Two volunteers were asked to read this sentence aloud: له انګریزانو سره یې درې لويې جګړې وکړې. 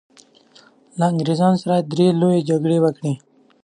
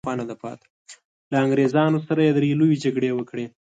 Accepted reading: first